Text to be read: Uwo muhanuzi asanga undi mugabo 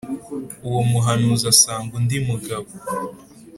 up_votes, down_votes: 3, 0